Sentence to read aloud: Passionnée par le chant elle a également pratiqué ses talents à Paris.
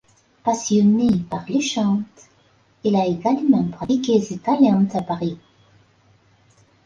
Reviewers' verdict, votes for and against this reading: rejected, 1, 2